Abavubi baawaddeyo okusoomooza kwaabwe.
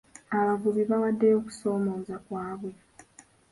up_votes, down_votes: 1, 2